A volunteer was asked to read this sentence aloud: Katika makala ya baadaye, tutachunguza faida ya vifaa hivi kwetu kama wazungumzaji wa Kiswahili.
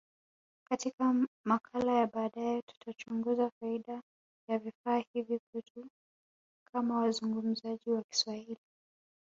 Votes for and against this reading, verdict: 0, 2, rejected